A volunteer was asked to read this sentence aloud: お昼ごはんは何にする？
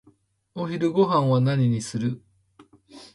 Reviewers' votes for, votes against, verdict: 3, 0, accepted